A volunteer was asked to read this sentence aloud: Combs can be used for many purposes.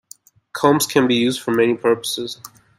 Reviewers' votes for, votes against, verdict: 2, 0, accepted